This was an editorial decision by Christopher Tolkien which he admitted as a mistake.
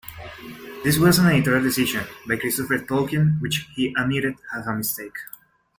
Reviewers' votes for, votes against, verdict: 3, 2, accepted